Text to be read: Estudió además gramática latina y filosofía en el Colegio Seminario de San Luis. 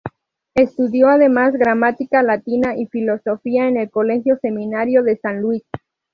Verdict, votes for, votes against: accepted, 2, 0